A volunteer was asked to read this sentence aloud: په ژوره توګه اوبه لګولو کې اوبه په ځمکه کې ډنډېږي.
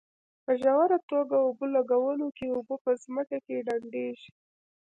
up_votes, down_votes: 1, 2